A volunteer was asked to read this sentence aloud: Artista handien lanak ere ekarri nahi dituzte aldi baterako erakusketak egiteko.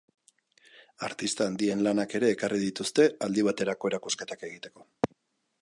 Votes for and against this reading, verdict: 1, 2, rejected